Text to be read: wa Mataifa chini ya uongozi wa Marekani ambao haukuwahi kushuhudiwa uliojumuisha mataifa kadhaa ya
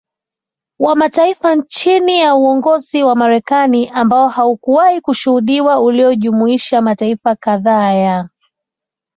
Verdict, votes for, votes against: accepted, 2, 0